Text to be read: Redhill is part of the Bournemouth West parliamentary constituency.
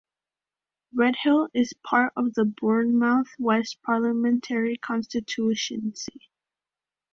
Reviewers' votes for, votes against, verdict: 0, 2, rejected